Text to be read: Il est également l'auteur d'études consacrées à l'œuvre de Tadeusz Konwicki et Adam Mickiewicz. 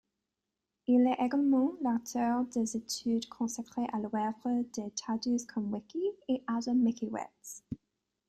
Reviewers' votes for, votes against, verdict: 0, 3, rejected